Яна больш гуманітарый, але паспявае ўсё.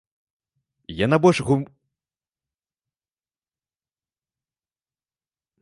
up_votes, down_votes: 0, 2